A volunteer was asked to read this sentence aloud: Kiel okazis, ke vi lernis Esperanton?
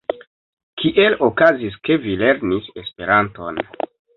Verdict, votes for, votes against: accepted, 2, 0